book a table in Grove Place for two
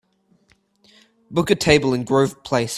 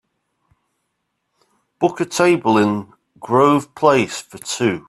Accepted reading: second